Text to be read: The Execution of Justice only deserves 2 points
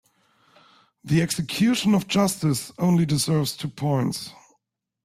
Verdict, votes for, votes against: rejected, 0, 2